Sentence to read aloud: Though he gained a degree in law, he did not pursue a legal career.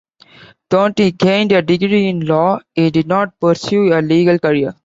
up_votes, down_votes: 1, 2